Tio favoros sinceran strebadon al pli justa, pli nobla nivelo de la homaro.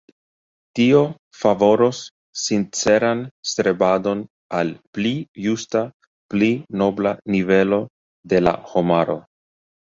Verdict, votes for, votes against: accepted, 2, 0